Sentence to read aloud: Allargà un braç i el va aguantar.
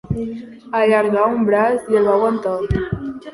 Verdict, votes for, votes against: rejected, 1, 2